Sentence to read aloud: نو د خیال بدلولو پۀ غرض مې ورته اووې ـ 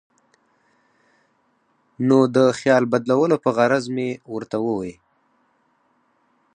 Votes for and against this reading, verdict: 4, 2, accepted